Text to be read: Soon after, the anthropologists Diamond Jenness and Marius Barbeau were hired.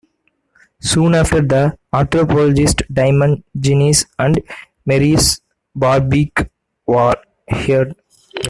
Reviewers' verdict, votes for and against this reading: rejected, 1, 2